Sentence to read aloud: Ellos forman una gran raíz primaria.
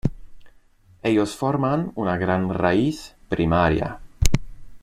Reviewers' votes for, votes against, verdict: 2, 0, accepted